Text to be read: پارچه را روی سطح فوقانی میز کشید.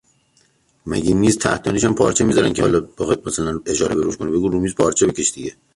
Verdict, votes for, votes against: rejected, 0, 2